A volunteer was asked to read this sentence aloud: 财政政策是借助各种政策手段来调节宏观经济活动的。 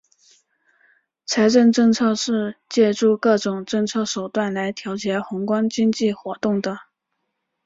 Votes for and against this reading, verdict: 3, 1, accepted